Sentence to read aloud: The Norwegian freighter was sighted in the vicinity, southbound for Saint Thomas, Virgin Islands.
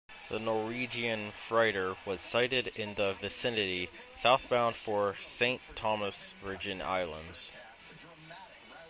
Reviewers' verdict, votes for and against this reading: accepted, 2, 0